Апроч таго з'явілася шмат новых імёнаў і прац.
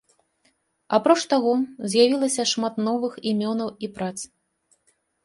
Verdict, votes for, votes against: accepted, 2, 0